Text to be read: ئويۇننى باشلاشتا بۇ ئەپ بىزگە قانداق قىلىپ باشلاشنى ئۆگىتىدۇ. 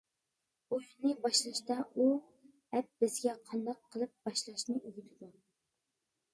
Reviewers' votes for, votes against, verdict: 0, 2, rejected